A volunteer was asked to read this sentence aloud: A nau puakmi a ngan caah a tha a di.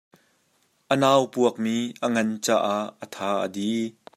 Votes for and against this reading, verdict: 2, 0, accepted